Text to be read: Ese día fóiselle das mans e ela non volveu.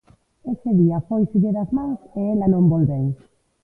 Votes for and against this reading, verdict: 1, 2, rejected